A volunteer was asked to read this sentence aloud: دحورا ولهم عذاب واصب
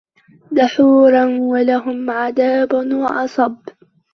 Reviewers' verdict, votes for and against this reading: rejected, 0, 2